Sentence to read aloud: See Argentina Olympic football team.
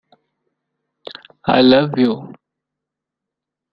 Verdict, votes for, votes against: rejected, 0, 2